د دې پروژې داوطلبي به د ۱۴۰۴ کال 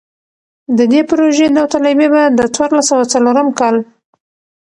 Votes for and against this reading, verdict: 0, 2, rejected